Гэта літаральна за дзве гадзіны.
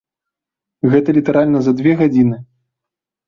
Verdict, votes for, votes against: rejected, 0, 2